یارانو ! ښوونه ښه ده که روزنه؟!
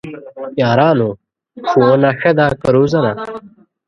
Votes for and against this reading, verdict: 0, 2, rejected